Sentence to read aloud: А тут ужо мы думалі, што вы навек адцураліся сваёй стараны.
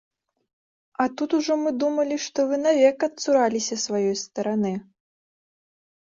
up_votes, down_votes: 2, 0